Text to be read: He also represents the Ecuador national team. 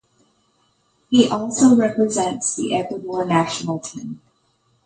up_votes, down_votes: 2, 0